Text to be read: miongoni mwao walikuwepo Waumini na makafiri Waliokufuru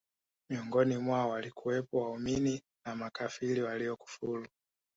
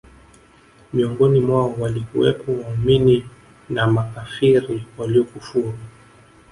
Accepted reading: first